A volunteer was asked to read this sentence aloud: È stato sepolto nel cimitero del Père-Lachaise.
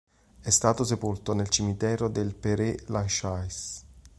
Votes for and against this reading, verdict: 0, 2, rejected